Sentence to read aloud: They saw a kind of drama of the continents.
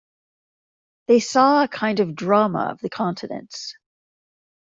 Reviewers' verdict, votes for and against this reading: accepted, 2, 0